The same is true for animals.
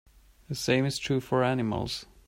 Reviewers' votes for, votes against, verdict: 4, 0, accepted